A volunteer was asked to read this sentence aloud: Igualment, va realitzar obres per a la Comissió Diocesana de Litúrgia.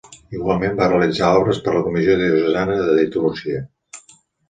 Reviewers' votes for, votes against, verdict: 1, 2, rejected